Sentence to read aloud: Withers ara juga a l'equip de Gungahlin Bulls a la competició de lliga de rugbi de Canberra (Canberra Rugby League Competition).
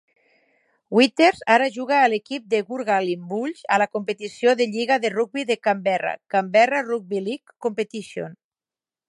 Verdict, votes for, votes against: accepted, 4, 0